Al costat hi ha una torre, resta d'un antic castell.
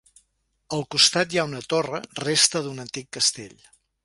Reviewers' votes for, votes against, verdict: 2, 0, accepted